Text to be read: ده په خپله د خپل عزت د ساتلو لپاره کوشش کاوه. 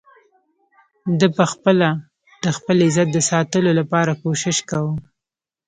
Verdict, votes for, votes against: rejected, 1, 2